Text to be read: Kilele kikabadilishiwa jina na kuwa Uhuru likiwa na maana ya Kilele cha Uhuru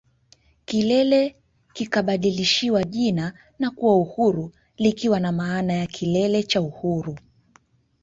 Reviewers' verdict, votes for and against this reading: rejected, 1, 2